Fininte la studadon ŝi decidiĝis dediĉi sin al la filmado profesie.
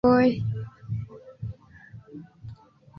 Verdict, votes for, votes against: accepted, 2, 0